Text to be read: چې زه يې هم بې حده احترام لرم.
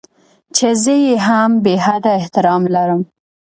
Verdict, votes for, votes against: accepted, 2, 0